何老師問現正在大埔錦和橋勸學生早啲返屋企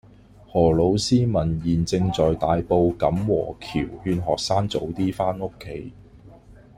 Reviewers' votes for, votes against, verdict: 2, 0, accepted